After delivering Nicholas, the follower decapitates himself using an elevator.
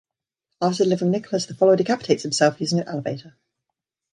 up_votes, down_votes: 0, 2